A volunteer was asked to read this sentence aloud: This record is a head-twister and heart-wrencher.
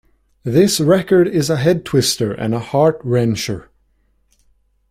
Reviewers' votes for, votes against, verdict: 2, 1, accepted